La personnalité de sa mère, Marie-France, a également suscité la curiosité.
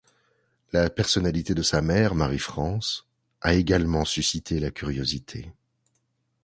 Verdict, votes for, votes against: accepted, 2, 0